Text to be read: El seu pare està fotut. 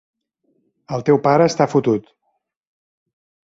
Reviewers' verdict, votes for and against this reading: rejected, 0, 2